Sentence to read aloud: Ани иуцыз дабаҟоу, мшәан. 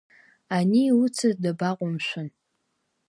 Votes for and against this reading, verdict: 2, 0, accepted